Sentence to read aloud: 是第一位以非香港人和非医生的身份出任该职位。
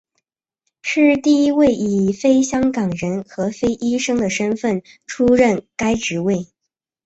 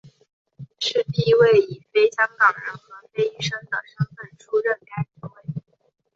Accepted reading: first